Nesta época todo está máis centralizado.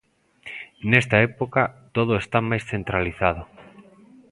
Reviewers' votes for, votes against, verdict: 1, 2, rejected